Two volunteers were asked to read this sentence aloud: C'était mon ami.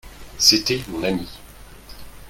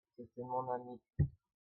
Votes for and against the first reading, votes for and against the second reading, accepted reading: 2, 1, 0, 2, first